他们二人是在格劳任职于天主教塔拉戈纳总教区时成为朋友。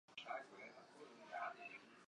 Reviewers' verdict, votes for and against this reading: rejected, 0, 2